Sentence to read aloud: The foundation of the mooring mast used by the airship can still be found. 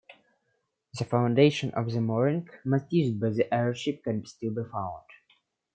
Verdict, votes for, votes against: rejected, 1, 2